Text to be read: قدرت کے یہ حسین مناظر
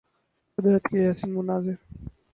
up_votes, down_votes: 2, 2